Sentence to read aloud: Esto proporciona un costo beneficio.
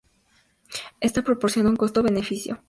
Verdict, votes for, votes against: accepted, 2, 0